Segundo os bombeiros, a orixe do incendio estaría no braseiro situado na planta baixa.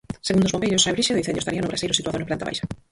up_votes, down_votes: 0, 4